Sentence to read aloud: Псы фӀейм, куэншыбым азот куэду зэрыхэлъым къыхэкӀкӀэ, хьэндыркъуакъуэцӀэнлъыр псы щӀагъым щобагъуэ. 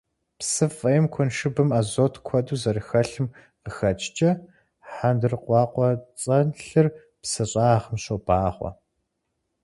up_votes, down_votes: 4, 0